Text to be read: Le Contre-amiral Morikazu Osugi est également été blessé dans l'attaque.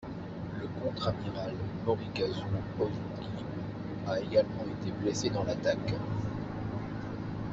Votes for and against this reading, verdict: 1, 2, rejected